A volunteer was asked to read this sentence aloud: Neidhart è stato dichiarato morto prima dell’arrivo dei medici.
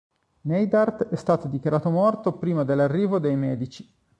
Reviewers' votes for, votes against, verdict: 2, 0, accepted